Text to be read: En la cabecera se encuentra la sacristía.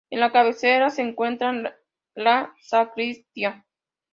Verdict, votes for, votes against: rejected, 1, 2